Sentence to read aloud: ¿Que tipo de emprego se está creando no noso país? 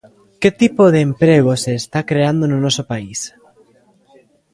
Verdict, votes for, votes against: accepted, 2, 0